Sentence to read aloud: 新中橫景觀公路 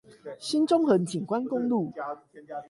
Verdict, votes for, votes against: rejected, 4, 8